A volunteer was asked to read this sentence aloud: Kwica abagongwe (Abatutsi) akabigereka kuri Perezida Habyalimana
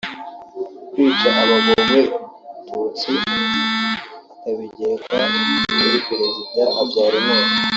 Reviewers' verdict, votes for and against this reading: rejected, 0, 2